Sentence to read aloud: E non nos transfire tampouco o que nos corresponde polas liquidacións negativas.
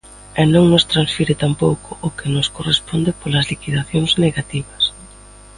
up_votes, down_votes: 2, 0